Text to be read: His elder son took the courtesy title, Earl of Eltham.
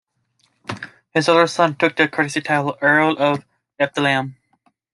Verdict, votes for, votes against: accepted, 2, 0